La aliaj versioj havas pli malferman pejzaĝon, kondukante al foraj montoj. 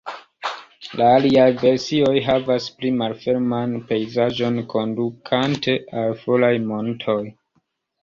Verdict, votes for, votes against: accepted, 2, 0